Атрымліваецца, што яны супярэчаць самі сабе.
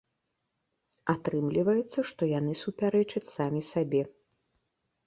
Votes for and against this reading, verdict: 2, 0, accepted